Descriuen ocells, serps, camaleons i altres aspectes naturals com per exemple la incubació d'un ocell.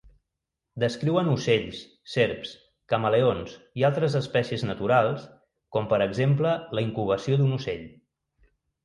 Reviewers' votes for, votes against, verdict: 1, 2, rejected